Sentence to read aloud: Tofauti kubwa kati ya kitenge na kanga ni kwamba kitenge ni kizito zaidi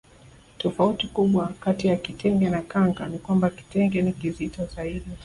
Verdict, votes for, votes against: accepted, 2, 0